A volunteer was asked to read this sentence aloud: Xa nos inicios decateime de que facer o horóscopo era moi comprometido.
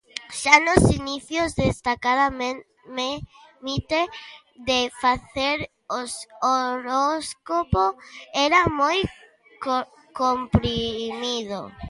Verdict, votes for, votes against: rejected, 0, 2